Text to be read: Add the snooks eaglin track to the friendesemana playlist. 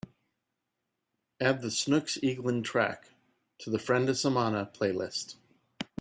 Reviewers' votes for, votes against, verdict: 2, 0, accepted